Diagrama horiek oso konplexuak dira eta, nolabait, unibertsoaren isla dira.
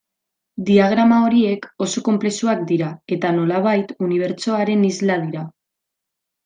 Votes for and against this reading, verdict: 2, 0, accepted